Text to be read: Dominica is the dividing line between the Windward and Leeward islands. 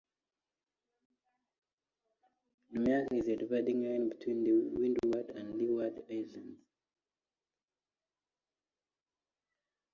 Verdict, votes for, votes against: rejected, 0, 2